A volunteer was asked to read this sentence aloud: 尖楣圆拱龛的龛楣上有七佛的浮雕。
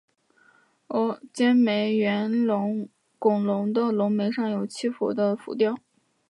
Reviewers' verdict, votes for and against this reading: rejected, 0, 2